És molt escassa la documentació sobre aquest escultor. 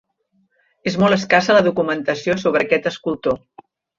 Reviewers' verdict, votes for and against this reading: accepted, 4, 0